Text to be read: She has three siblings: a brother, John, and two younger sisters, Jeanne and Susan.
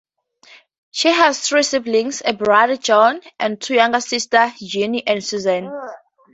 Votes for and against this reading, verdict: 2, 0, accepted